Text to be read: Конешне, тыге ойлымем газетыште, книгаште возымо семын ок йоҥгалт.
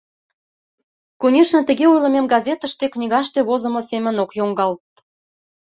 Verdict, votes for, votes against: accepted, 2, 0